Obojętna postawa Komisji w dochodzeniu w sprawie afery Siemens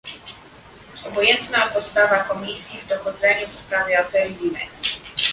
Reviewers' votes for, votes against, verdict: 1, 2, rejected